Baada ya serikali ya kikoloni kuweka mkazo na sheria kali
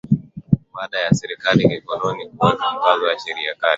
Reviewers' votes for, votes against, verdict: 18, 2, accepted